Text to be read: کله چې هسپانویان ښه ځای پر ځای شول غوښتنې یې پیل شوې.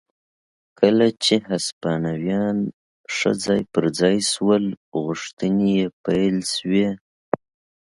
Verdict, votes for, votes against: accepted, 2, 0